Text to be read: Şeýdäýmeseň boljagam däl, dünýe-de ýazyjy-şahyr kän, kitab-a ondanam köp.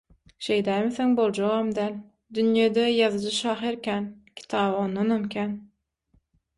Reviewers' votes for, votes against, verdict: 0, 6, rejected